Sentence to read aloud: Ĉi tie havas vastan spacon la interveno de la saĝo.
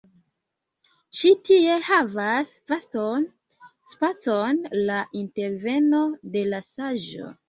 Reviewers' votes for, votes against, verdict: 0, 2, rejected